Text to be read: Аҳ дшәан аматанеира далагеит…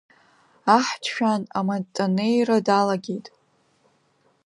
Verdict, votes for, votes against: accepted, 2, 1